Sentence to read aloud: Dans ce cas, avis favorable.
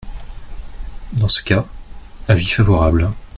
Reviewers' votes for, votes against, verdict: 2, 0, accepted